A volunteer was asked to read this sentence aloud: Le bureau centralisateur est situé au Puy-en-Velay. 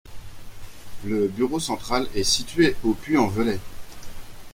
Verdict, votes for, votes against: accepted, 2, 1